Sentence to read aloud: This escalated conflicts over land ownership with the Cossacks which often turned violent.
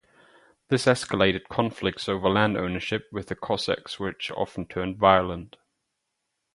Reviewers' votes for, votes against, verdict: 2, 2, rejected